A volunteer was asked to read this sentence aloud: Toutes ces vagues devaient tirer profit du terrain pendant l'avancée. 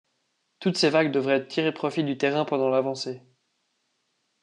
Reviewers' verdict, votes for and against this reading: rejected, 1, 2